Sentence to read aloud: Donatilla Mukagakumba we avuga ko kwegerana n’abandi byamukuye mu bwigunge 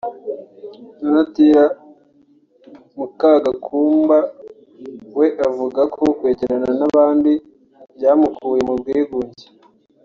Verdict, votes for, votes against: accepted, 2, 0